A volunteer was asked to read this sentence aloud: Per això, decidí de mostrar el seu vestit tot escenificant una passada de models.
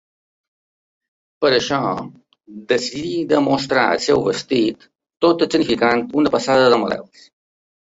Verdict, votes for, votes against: accepted, 2, 1